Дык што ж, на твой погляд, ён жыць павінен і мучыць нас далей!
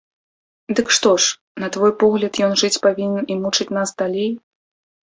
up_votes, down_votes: 2, 0